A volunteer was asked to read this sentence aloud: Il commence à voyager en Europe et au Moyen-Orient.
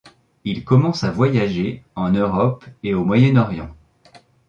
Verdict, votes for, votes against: accepted, 3, 0